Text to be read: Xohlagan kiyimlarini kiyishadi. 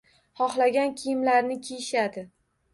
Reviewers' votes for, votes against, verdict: 2, 1, accepted